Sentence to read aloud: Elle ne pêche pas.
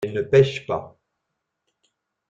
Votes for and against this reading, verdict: 1, 2, rejected